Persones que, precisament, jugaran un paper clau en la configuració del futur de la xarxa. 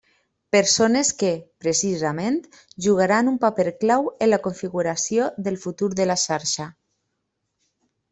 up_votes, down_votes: 2, 0